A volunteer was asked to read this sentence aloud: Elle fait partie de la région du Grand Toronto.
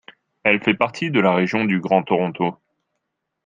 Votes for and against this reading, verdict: 2, 0, accepted